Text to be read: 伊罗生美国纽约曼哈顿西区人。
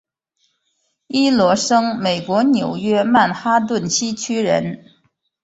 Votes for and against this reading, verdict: 2, 0, accepted